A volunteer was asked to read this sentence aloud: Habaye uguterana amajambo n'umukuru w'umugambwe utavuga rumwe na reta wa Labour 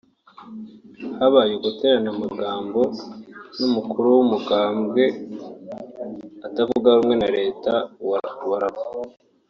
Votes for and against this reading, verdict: 1, 2, rejected